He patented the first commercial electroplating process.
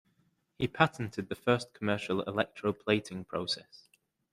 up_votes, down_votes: 2, 0